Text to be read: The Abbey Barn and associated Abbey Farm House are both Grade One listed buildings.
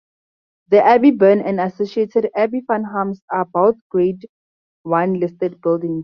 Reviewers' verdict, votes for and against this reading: rejected, 0, 2